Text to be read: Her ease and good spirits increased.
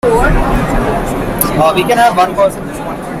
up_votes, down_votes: 0, 2